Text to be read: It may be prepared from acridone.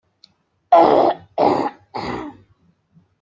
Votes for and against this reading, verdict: 0, 2, rejected